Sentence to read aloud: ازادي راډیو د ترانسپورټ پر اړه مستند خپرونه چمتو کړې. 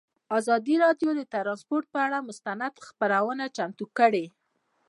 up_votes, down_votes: 2, 0